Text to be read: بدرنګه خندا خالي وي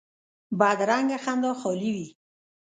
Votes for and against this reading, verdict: 0, 2, rejected